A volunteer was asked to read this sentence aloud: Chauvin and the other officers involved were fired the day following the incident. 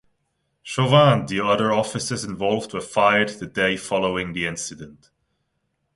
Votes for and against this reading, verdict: 2, 1, accepted